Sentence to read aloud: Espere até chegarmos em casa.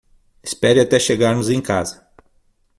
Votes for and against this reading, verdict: 6, 0, accepted